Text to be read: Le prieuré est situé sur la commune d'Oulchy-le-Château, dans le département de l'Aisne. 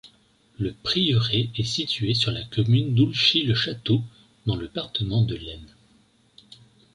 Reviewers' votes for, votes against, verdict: 1, 2, rejected